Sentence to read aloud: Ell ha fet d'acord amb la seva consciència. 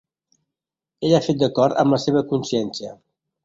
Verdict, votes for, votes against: accepted, 2, 0